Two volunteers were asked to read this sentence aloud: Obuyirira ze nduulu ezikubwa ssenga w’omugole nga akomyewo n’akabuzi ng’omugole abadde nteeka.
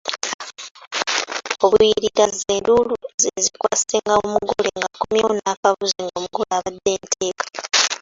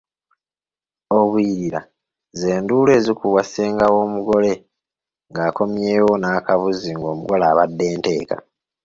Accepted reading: second